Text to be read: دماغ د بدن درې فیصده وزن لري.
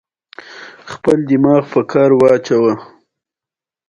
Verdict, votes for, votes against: rejected, 0, 2